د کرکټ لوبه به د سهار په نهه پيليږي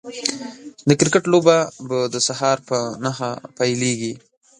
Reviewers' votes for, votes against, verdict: 1, 2, rejected